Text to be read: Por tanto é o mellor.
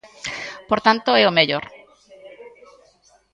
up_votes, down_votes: 0, 2